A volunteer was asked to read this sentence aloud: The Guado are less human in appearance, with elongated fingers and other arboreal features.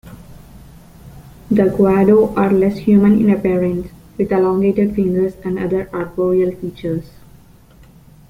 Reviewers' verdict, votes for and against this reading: rejected, 0, 2